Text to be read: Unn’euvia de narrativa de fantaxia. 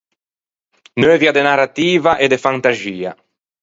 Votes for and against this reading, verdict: 2, 4, rejected